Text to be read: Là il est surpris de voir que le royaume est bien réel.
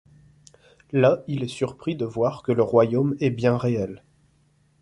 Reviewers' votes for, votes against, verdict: 2, 0, accepted